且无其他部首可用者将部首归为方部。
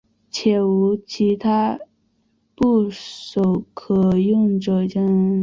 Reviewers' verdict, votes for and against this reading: rejected, 1, 2